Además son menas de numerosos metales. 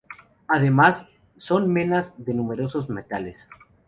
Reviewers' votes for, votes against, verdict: 2, 0, accepted